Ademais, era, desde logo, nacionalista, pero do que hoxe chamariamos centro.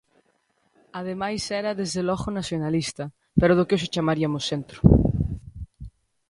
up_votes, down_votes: 2, 1